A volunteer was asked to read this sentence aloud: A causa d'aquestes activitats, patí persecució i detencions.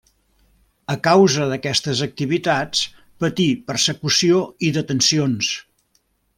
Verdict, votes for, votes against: accepted, 3, 0